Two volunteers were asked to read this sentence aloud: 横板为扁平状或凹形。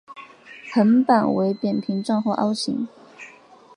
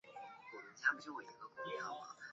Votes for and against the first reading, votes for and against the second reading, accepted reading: 2, 0, 1, 2, first